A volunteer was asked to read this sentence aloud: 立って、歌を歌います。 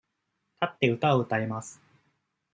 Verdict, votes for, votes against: accepted, 2, 0